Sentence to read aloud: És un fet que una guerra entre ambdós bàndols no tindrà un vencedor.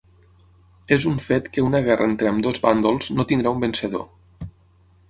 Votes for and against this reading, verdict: 9, 0, accepted